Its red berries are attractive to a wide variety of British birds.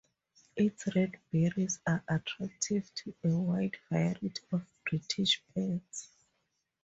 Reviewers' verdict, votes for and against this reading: rejected, 2, 2